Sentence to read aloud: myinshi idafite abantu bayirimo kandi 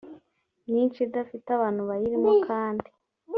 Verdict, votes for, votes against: accepted, 2, 0